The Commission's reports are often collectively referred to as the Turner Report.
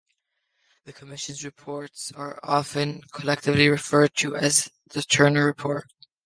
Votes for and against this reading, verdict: 1, 2, rejected